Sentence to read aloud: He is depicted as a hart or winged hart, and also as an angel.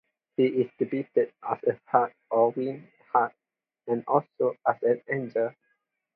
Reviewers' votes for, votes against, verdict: 4, 2, accepted